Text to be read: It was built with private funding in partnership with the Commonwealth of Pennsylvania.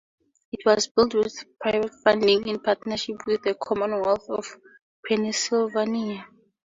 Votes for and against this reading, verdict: 4, 0, accepted